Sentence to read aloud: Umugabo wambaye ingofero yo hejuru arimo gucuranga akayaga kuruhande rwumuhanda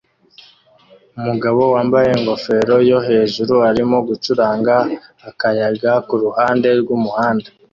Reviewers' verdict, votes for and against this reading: accepted, 2, 0